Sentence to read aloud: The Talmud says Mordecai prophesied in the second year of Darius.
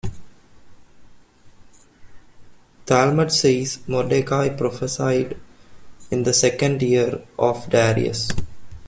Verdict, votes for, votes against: rejected, 0, 2